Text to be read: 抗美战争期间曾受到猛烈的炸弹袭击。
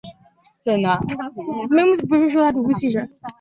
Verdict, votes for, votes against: rejected, 0, 2